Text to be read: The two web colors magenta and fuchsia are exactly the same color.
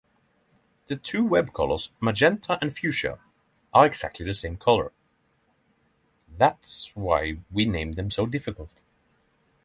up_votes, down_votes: 3, 0